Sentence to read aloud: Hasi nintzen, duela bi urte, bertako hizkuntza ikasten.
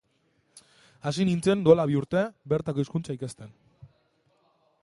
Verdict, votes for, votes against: rejected, 1, 2